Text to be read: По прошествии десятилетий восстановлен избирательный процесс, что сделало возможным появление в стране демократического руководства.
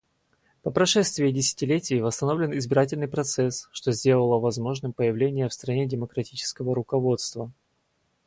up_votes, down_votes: 2, 0